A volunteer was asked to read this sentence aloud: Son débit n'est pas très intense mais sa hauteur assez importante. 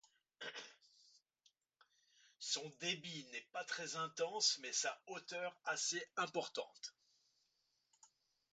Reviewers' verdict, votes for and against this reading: rejected, 1, 2